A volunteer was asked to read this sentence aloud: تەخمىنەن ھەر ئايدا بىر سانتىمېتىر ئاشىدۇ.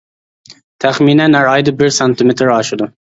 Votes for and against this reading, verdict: 2, 0, accepted